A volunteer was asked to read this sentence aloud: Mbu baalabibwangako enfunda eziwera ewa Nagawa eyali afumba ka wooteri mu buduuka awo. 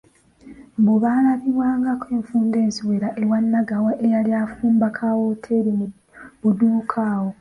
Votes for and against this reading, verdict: 2, 0, accepted